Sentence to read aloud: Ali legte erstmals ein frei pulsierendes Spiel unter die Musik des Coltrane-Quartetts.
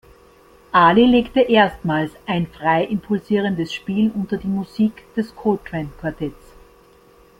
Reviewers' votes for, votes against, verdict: 1, 2, rejected